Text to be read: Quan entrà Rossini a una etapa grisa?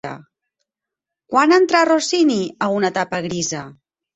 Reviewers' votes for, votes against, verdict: 2, 4, rejected